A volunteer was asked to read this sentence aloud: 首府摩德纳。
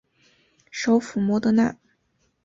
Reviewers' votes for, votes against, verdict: 2, 0, accepted